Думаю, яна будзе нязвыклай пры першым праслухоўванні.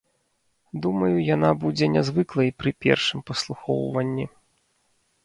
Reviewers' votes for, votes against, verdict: 0, 2, rejected